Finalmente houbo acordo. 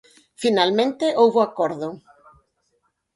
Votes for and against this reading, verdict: 2, 2, rejected